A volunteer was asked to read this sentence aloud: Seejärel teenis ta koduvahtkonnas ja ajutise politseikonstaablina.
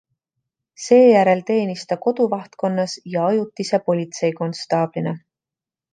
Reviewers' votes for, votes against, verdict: 2, 0, accepted